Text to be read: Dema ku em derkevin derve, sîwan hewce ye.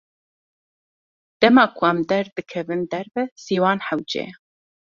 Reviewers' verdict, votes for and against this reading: rejected, 0, 2